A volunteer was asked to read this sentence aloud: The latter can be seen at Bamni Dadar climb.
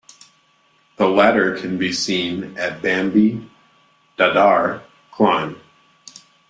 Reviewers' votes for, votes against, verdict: 1, 2, rejected